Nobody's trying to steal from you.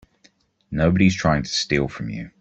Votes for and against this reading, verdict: 2, 0, accepted